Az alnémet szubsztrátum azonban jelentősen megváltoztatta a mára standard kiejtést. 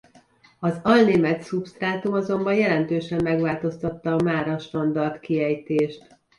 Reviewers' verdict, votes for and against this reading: rejected, 1, 2